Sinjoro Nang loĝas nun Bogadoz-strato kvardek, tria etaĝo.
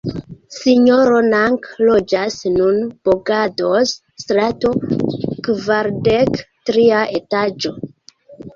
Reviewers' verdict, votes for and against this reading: rejected, 1, 2